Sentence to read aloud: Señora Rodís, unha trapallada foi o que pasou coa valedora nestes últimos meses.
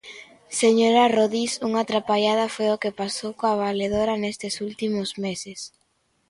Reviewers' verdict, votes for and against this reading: accepted, 2, 0